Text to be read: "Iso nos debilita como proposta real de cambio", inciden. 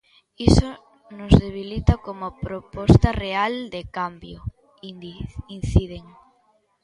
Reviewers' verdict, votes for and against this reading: rejected, 0, 2